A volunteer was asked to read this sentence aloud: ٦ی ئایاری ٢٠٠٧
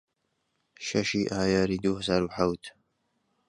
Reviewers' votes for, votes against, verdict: 0, 2, rejected